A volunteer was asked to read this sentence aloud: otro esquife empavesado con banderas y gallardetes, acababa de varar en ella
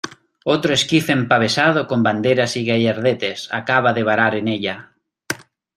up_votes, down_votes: 2, 1